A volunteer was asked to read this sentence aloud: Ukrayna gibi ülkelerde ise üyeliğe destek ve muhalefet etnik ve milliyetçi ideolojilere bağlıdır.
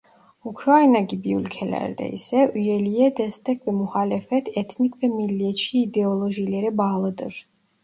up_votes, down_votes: 2, 0